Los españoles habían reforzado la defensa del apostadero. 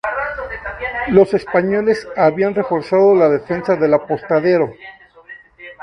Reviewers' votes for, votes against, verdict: 0, 2, rejected